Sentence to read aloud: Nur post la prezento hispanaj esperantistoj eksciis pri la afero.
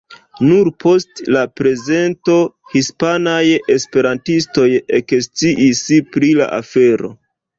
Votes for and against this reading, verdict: 0, 2, rejected